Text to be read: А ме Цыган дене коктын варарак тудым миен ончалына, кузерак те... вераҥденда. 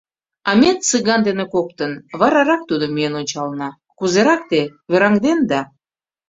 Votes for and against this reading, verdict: 3, 0, accepted